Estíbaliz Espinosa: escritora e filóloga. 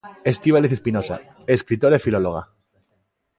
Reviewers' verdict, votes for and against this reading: accepted, 2, 0